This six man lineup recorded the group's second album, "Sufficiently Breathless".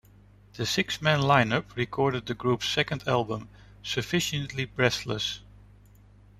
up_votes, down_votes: 2, 0